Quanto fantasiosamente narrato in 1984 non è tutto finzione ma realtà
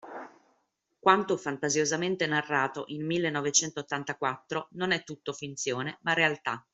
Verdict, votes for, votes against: rejected, 0, 2